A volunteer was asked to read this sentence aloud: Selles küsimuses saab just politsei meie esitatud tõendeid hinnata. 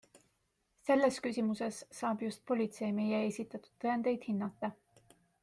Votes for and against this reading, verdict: 2, 0, accepted